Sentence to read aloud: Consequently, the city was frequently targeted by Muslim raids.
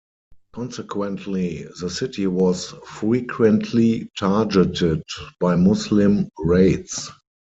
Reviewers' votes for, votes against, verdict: 0, 4, rejected